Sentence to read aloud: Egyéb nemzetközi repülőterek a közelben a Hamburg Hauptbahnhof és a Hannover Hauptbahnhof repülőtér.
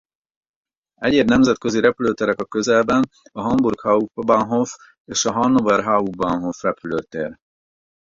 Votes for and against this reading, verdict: 0, 4, rejected